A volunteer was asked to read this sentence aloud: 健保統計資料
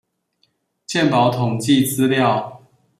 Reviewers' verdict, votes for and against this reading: accepted, 2, 0